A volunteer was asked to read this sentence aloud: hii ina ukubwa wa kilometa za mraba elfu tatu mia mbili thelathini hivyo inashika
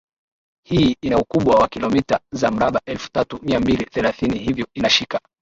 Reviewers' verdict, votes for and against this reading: accepted, 2, 0